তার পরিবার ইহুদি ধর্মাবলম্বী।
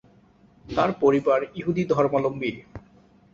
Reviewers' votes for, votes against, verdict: 1, 2, rejected